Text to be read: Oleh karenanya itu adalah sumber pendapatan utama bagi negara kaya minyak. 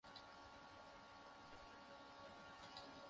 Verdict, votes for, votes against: rejected, 0, 2